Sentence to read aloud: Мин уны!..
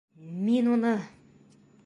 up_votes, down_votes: 1, 2